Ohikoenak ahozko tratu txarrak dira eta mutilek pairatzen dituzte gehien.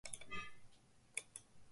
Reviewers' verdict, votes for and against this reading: rejected, 0, 2